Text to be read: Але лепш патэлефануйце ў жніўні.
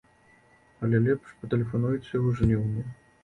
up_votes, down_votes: 2, 0